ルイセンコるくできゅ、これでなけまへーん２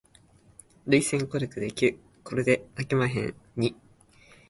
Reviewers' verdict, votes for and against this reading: rejected, 0, 2